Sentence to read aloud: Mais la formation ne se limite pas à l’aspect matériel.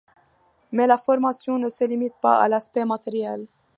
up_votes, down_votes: 2, 0